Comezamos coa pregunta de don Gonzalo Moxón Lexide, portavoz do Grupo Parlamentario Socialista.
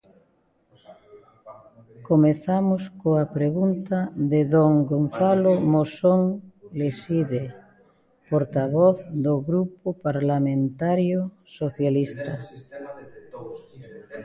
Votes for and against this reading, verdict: 0, 2, rejected